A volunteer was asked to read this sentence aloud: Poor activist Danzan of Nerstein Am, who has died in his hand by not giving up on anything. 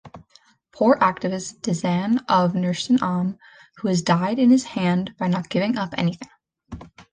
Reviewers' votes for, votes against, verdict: 0, 2, rejected